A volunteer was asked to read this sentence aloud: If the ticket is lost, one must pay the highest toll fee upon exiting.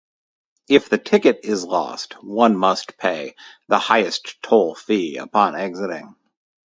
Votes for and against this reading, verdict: 4, 0, accepted